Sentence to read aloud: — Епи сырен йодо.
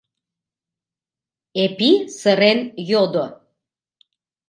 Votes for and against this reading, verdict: 1, 2, rejected